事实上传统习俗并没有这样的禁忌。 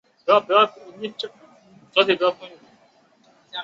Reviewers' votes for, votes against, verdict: 0, 2, rejected